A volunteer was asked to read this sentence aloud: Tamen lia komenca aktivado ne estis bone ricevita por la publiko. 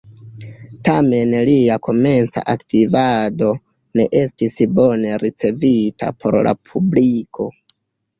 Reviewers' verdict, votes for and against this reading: rejected, 0, 2